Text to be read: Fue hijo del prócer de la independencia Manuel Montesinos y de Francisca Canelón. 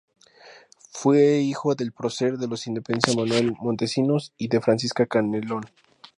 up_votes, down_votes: 2, 0